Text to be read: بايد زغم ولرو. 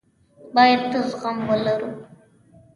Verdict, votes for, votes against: rejected, 0, 2